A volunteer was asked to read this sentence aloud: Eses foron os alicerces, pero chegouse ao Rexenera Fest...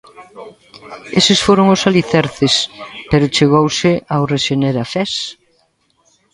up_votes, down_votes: 1, 2